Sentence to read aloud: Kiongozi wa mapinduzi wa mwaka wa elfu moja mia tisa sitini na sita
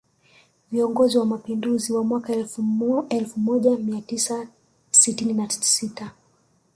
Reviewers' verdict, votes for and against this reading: rejected, 2, 3